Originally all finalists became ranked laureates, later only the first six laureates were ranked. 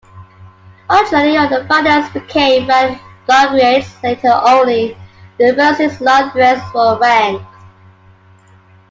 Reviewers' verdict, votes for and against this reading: rejected, 1, 2